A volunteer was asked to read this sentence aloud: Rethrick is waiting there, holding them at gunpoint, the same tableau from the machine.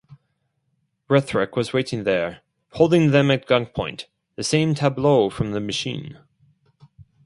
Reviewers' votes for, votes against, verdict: 0, 2, rejected